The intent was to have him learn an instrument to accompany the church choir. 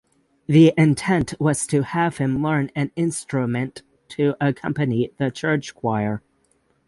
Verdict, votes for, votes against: accepted, 6, 0